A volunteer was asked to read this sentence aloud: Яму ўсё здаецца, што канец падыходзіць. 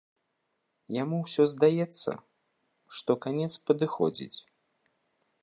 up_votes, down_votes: 2, 0